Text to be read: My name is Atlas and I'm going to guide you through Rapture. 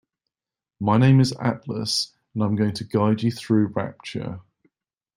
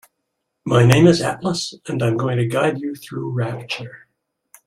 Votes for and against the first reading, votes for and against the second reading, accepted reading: 0, 2, 2, 1, second